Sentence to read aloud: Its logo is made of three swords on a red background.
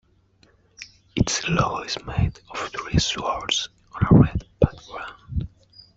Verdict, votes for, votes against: rejected, 0, 2